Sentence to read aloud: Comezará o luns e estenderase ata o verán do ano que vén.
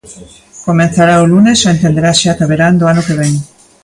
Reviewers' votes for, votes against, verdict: 0, 2, rejected